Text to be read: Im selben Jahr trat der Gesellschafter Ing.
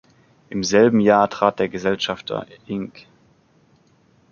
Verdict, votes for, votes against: accepted, 2, 0